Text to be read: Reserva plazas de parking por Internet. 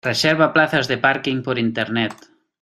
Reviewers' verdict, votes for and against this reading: accepted, 2, 0